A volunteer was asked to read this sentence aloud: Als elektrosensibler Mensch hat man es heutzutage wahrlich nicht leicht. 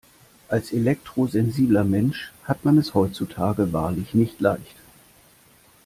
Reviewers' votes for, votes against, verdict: 2, 0, accepted